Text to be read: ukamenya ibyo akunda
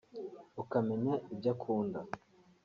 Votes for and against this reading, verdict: 1, 2, rejected